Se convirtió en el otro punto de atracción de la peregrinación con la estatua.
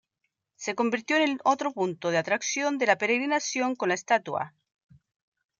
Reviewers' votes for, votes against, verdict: 2, 0, accepted